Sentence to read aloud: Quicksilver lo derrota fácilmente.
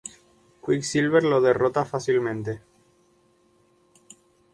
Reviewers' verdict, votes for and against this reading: accepted, 2, 0